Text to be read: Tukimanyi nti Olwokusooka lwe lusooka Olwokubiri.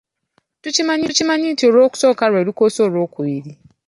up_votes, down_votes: 1, 2